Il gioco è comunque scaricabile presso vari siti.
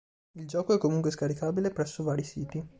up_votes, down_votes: 2, 1